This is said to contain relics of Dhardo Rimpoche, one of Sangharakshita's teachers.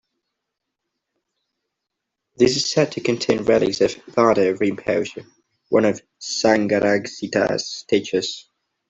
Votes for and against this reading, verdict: 2, 0, accepted